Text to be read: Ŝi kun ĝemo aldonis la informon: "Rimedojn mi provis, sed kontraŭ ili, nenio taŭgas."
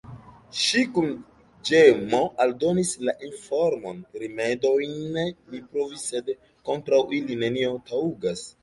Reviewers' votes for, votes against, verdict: 2, 1, accepted